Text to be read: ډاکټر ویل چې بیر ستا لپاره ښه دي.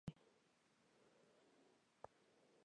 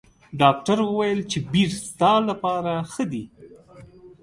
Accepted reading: second